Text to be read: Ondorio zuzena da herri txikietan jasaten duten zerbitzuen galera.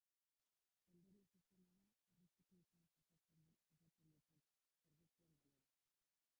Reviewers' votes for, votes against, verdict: 0, 2, rejected